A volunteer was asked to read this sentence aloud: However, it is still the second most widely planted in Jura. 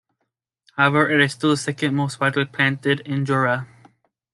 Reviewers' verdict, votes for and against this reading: accepted, 2, 0